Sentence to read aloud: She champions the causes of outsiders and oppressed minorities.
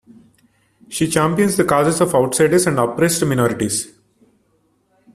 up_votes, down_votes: 2, 0